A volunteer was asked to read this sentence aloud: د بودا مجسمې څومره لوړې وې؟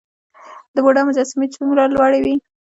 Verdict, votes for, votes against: rejected, 1, 2